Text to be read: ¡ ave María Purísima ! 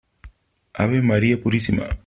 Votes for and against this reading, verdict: 3, 0, accepted